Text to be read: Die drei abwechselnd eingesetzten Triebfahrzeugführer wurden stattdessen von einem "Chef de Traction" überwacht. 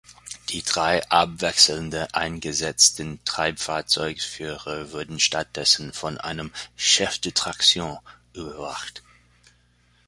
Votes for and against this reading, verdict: 1, 2, rejected